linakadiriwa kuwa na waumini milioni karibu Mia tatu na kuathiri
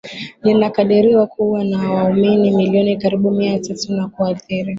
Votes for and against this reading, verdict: 13, 0, accepted